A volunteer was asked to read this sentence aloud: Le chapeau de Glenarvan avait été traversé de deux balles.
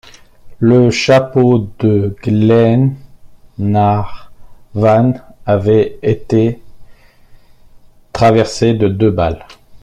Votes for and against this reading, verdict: 0, 2, rejected